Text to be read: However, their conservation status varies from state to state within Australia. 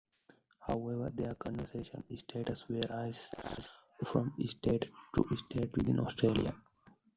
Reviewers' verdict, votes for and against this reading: rejected, 0, 2